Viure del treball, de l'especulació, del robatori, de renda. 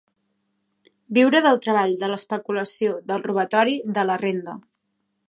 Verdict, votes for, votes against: rejected, 1, 2